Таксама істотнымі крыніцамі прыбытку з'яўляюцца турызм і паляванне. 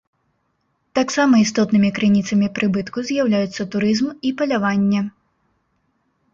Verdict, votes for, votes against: accepted, 2, 0